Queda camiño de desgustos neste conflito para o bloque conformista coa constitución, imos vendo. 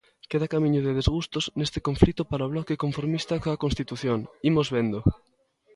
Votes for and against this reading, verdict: 2, 0, accepted